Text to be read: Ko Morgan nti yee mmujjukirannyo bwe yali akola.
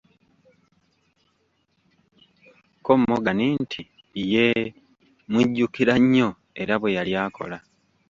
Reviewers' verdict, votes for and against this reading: rejected, 1, 2